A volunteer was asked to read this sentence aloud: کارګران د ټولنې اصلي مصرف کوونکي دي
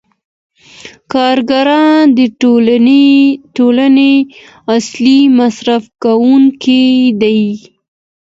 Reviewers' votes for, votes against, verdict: 2, 1, accepted